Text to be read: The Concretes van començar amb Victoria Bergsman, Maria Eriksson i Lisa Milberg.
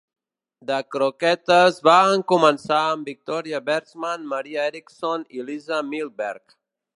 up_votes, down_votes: 0, 2